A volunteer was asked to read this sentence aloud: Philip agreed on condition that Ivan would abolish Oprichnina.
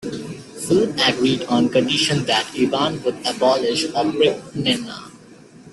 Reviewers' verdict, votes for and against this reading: rejected, 1, 2